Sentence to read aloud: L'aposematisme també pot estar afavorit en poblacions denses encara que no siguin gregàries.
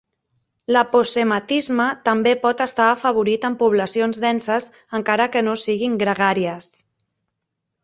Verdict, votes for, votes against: accepted, 3, 0